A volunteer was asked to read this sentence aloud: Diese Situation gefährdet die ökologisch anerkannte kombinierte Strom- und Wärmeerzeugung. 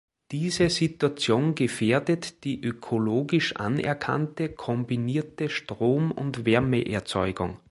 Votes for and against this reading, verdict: 2, 0, accepted